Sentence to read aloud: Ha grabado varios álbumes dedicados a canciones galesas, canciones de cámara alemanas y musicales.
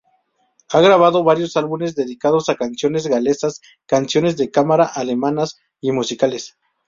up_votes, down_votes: 2, 0